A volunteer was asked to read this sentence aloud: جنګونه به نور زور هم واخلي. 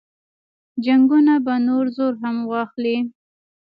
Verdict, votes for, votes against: rejected, 1, 2